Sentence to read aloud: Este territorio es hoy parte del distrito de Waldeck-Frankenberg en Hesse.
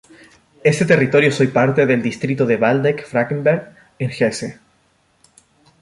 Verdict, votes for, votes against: accepted, 2, 0